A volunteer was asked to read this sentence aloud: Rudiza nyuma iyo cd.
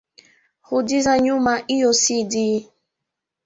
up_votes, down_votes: 2, 0